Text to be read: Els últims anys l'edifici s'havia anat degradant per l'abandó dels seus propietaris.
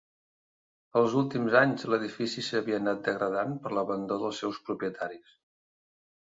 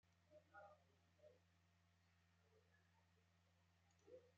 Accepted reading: first